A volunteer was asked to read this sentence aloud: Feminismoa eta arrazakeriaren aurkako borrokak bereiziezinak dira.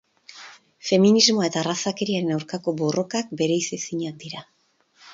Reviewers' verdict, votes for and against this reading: accepted, 4, 0